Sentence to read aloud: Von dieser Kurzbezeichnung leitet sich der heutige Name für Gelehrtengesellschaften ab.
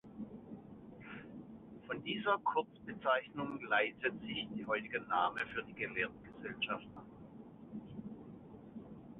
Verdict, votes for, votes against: rejected, 0, 2